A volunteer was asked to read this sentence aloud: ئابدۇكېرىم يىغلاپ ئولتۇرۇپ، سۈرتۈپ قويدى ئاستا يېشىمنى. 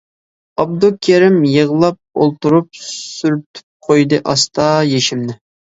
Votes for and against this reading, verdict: 2, 0, accepted